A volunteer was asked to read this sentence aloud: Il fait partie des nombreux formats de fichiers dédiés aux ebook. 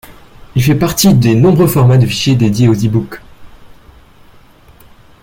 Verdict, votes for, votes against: accepted, 2, 0